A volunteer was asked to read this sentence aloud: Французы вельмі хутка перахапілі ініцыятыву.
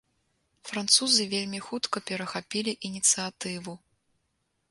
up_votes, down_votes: 1, 2